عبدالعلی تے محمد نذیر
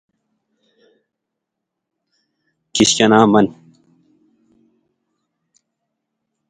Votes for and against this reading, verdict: 0, 2, rejected